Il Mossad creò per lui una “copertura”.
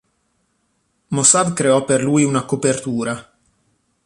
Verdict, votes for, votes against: rejected, 0, 3